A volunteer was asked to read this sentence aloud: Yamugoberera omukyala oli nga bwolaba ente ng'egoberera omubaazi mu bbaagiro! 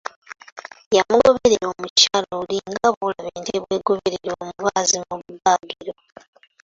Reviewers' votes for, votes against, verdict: 1, 2, rejected